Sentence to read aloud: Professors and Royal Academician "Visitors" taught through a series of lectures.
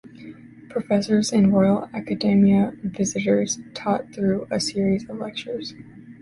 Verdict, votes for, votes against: rejected, 1, 2